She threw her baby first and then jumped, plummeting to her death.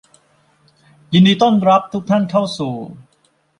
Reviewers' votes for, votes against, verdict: 0, 2, rejected